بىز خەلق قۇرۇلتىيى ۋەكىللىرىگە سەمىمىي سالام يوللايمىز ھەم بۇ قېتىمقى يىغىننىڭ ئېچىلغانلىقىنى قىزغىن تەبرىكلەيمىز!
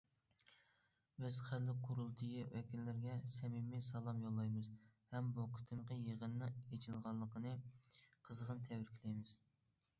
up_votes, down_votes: 2, 0